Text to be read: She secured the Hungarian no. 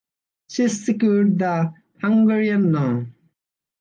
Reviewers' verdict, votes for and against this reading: rejected, 0, 2